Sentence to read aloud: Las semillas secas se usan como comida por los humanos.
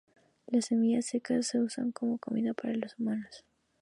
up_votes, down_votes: 2, 0